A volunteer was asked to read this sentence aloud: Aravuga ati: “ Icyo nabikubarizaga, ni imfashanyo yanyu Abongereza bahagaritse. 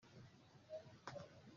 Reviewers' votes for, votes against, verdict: 1, 2, rejected